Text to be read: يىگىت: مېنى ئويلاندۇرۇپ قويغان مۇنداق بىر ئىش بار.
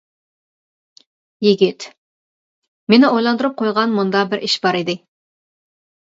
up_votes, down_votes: 0, 2